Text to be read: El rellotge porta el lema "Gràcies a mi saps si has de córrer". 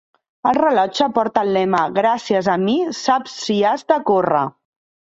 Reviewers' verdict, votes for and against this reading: rejected, 1, 2